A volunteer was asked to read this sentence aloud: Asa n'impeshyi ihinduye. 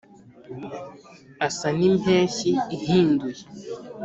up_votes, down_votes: 2, 0